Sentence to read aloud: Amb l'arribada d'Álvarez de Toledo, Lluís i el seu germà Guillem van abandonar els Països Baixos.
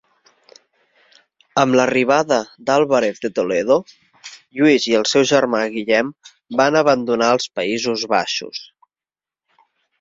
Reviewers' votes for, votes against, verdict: 3, 1, accepted